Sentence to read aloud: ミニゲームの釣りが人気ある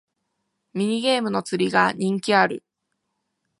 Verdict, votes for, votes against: accepted, 2, 0